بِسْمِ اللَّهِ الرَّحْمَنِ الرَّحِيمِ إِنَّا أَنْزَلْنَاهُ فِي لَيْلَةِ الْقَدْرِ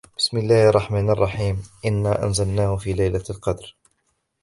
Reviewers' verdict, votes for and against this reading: accepted, 2, 1